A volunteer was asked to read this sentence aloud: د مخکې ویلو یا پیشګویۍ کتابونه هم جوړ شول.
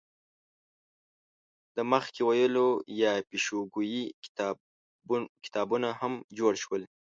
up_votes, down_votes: 1, 2